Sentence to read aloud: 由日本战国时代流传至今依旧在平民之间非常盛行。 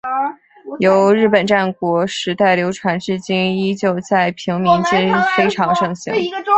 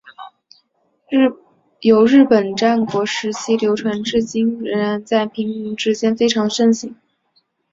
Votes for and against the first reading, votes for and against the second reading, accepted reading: 2, 3, 2, 0, second